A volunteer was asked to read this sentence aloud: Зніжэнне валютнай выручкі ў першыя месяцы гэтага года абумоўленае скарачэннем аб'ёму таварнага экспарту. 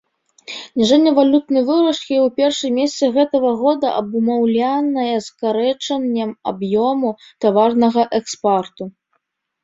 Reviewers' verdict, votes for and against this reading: rejected, 0, 2